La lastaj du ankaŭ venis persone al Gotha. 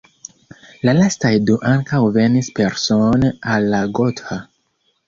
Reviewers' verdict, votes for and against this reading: rejected, 0, 2